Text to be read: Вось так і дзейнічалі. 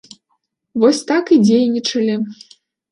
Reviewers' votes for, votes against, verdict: 2, 0, accepted